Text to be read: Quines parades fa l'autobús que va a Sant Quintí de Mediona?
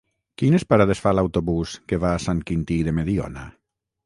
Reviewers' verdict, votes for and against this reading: rejected, 3, 3